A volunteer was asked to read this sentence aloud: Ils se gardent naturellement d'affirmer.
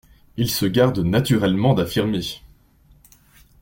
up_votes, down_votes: 2, 1